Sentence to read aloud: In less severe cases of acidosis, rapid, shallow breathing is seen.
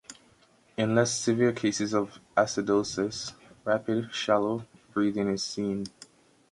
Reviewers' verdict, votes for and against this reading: accepted, 2, 0